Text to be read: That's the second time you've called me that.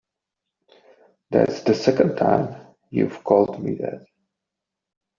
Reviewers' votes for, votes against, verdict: 2, 1, accepted